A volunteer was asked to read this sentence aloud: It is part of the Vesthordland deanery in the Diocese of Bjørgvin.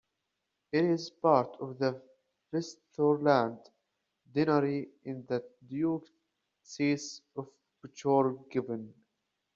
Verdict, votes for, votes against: rejected, 1, 2